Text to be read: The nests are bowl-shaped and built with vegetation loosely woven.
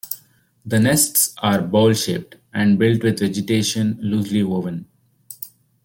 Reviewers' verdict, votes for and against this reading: accepted, 2, 0